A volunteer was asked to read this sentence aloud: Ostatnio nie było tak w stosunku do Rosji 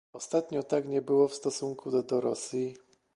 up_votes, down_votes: 0, 2